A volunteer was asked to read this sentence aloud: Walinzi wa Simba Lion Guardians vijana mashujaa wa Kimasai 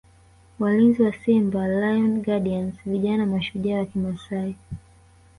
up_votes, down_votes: 1, 2